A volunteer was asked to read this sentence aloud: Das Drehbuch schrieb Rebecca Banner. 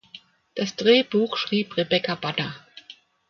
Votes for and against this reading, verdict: 2, 0, accepted